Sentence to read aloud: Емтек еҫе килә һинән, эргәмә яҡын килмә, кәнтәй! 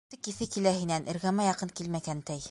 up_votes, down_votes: 1, 2